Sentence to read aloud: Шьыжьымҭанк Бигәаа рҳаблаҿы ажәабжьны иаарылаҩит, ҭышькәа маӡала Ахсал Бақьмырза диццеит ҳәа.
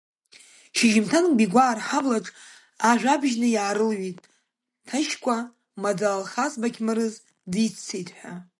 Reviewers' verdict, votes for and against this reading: rejected, 0, 2